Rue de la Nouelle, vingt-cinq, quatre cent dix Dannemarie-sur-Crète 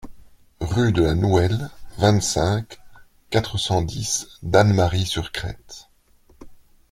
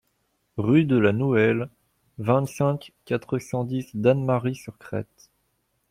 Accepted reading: second